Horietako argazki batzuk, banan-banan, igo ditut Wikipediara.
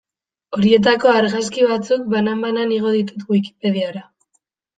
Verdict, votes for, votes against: accepted, 2, 0